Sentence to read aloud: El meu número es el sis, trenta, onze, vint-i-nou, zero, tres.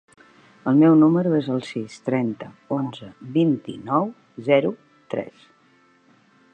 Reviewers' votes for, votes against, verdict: 2, 0, accepted